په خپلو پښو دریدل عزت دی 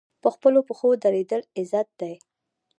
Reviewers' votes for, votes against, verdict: 1, 2, rejected